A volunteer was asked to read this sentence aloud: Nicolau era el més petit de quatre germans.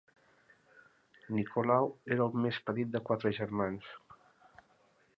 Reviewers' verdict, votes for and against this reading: accepted, 3, 0